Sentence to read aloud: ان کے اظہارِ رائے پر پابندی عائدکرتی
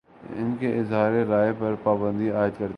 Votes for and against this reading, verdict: 2, 3, rejected